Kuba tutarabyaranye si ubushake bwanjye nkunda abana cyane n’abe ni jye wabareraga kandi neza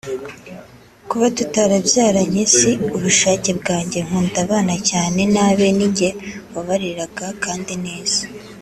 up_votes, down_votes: 2, 0